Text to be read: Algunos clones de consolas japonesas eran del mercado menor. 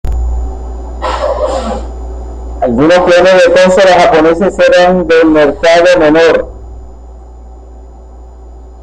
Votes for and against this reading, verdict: 1, 2, rejected